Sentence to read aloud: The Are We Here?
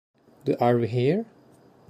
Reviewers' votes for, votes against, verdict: 2, 0, accepted